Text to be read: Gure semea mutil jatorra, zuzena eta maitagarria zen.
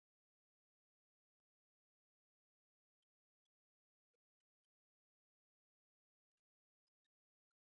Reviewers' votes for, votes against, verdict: 0, 5, rejected